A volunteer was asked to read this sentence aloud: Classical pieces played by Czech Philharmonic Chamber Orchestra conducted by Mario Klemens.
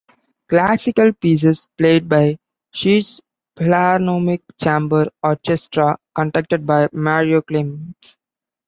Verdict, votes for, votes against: rejected, 1, 2